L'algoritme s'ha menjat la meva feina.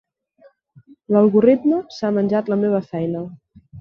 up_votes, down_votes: 1, 2